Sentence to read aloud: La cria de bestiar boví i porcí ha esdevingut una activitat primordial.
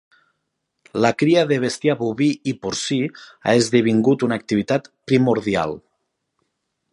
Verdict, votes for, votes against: accepted, 5, 0